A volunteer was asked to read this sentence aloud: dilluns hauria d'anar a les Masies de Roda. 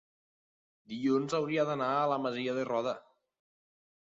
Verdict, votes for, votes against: rejected, 1, 2